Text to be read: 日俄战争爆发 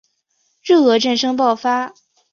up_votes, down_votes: 3, 0